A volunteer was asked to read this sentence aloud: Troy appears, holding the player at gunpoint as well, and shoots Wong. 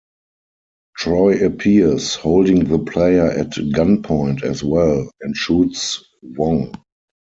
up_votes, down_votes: 4, 0